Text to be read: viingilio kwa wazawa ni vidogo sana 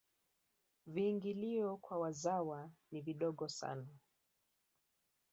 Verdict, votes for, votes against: rejected, 1, 3